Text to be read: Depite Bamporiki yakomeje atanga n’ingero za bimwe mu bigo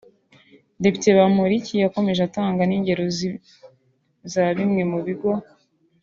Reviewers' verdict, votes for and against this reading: rejected, 1, 2